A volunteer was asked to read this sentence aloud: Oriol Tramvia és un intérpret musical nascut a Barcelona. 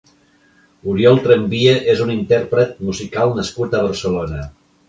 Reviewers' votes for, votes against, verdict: 4, 0, accepted